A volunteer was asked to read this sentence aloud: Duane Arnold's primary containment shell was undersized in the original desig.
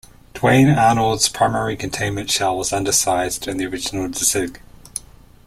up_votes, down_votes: 1, 2